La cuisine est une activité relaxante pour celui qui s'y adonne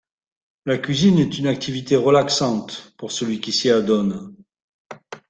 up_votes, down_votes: 2, 0